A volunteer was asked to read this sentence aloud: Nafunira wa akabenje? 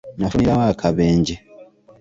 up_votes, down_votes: 2, 0